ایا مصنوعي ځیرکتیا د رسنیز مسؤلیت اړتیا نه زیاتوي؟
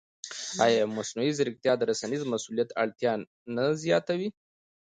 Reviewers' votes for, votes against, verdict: 2, 0, accepted